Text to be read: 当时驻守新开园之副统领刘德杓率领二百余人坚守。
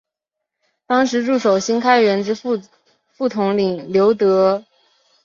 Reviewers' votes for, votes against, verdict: 0, 4, rejected